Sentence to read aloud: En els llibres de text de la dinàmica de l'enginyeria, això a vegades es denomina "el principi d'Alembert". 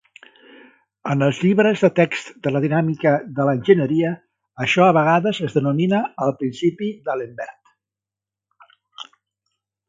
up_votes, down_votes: 2, 0